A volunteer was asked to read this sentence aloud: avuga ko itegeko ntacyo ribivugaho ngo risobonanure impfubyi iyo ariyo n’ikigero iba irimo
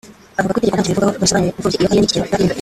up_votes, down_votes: 0, 2